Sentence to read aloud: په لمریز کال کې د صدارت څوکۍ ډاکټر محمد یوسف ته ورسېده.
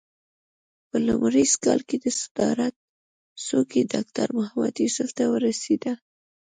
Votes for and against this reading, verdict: 2, 1, accepted